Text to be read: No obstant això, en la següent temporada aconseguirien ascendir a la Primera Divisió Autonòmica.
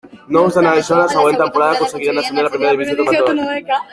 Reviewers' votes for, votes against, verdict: 0, 2, rejected